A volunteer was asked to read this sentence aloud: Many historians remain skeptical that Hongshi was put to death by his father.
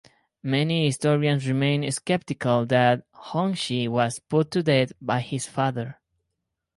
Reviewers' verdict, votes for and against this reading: rejected, 2, 2